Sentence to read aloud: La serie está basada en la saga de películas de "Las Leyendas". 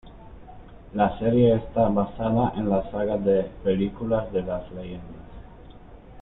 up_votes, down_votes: 0, 2